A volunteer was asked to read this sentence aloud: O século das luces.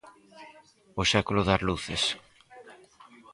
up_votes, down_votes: 4, 2